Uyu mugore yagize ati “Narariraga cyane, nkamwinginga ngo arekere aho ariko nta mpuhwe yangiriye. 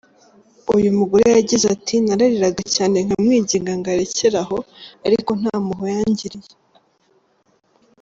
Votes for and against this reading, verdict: 1, 2, rejected